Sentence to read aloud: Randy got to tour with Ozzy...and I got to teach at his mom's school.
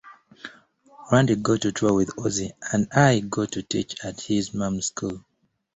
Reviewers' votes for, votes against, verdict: 2, 0, accepted